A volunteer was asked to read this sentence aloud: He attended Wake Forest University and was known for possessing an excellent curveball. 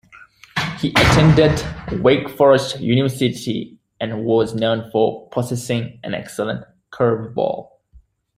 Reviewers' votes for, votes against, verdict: 2, 1, accepted